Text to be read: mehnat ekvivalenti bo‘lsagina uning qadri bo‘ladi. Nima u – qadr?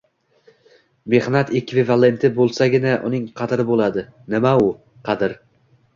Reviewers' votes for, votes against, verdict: 0, 2, rejected